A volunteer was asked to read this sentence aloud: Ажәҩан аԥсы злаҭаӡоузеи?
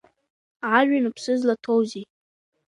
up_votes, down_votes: 0, 2